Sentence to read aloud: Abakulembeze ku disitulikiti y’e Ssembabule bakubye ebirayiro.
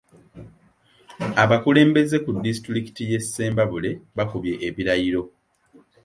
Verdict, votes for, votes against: accepted, 3, 1